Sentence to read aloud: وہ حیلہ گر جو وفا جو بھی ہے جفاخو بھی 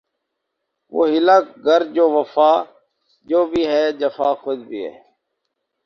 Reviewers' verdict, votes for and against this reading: rejected, 2, 2